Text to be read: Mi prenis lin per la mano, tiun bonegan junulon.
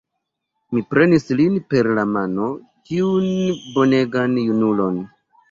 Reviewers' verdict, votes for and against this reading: accepted, 2, 0